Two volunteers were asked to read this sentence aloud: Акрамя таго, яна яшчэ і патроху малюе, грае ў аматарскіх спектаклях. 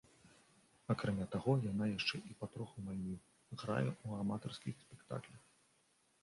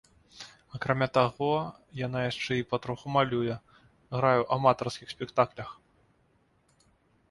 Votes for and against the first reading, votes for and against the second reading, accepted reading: 0, 2, 2, 0, second